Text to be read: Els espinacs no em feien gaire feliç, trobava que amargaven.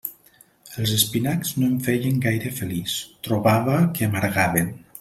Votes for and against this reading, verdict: 3, 0, accepted